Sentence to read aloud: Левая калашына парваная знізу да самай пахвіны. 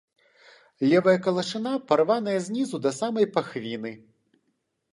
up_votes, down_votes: 2, 0